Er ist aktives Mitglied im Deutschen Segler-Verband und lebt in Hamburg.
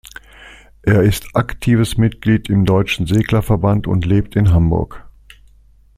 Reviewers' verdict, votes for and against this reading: accepted, 2, 0